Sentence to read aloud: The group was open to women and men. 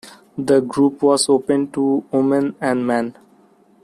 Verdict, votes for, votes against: accepted, 2, 0